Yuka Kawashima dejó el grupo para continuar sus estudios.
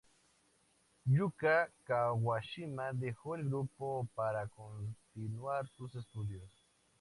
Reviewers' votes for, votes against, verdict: 2, 0, accepted